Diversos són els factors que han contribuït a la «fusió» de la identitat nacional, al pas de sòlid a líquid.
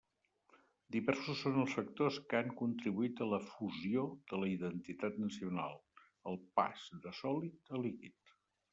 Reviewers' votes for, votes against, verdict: 2, 0, accepted